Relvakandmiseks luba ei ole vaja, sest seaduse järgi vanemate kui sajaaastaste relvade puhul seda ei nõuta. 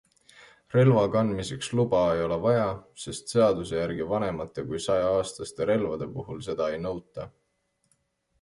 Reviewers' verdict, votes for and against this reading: accepted, 2, 0